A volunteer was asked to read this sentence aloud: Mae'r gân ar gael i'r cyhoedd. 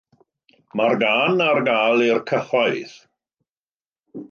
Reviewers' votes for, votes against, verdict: 2, 0, accepted